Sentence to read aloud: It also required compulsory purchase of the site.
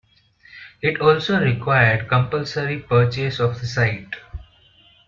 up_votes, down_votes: 2, 0